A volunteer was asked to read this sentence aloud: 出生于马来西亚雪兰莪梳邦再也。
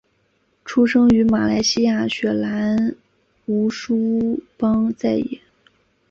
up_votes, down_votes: 2, 0